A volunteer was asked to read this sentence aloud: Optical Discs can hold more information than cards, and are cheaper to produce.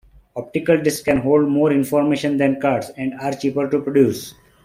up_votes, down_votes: 2, 0